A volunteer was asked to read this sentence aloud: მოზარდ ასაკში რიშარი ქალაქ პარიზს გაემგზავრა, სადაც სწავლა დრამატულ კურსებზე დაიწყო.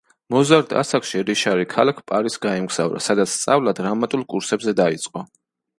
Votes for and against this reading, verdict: 2, 0, accepted